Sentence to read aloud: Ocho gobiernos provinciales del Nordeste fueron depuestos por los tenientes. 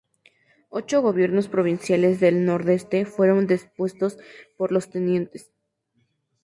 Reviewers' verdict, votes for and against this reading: accepted, 2, 0